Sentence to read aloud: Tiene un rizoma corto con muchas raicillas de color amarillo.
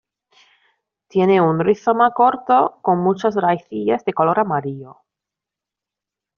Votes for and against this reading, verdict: 0, 2, rejected